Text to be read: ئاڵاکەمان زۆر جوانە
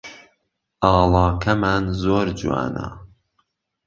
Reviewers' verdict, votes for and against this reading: accepted, 2, 0